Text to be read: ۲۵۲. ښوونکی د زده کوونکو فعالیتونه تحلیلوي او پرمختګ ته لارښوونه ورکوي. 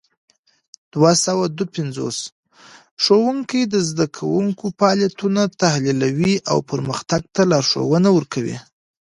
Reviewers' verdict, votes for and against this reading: rejected, 0, 2